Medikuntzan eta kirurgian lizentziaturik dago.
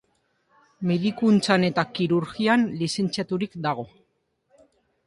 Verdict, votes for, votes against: rejected, 0, 2